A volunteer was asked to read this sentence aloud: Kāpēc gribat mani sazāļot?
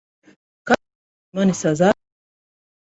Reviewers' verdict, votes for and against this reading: rejected, 0, 3